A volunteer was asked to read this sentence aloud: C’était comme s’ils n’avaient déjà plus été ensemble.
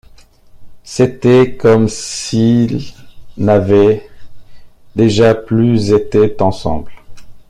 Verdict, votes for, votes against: rejected, 0, 2